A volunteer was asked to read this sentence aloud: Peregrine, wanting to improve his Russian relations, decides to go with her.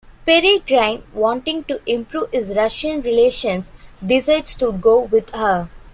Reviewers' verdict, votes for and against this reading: rejected, 0, 2